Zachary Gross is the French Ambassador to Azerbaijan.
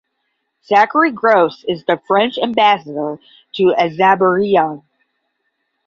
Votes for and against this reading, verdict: 5, 10, rejected